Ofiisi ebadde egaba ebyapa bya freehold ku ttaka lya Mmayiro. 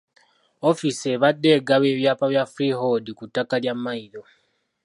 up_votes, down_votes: 1, 2